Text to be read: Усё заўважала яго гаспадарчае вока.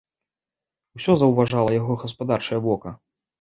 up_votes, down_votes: 2, 0